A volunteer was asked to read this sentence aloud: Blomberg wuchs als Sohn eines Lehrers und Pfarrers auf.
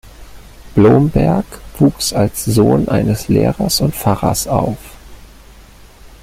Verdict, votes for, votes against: rejected, 1, 2